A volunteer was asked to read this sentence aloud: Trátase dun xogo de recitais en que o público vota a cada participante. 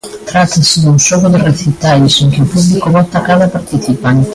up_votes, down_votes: 2, 1